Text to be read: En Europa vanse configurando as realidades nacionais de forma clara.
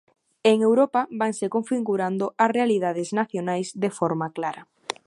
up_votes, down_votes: 1, 2